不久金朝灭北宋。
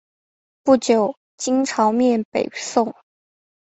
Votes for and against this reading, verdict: 5, 1, accepted